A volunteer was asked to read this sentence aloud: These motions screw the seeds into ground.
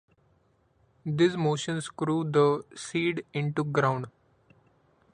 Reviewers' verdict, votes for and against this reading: rejected, 0, 2